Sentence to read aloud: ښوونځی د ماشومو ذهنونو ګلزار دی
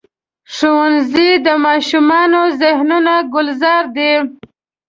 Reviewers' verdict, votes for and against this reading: rejected, 1, 2